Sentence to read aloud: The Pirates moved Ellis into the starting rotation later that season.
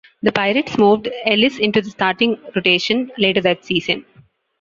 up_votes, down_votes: 2, 0